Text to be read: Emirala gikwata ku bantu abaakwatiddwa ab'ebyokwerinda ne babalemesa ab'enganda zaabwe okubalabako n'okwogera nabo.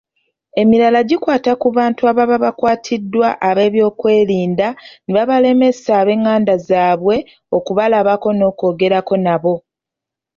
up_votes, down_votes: 0, 3